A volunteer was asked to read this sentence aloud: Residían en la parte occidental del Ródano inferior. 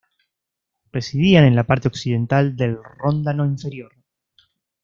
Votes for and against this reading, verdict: 0, 2, rejected